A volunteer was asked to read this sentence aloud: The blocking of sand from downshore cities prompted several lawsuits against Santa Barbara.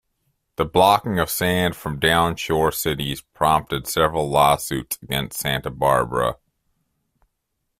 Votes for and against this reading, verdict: 2, 0, accepted